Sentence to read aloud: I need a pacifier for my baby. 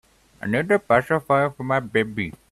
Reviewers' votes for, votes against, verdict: 1, 2, rejected